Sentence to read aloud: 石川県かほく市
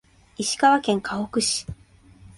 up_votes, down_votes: 3, 0